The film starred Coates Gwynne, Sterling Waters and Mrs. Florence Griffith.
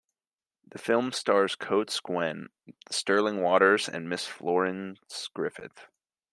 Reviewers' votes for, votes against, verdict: 2, 1, accepted